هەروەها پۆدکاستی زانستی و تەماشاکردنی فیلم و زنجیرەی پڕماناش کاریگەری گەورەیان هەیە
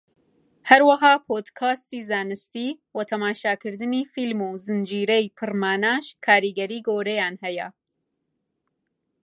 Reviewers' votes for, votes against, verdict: 2, 0, accepted